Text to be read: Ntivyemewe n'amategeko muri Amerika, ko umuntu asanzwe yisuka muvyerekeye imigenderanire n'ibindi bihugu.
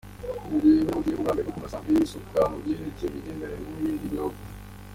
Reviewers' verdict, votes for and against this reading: rejected, 0, 2